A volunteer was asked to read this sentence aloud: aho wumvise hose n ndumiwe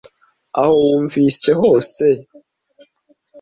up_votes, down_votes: 0, 2